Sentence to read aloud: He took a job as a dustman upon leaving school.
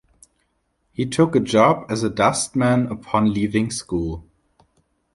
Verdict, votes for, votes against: rejected, 1, 2